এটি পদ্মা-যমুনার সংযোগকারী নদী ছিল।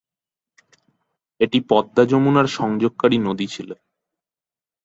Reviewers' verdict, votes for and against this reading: accepted, 5, 0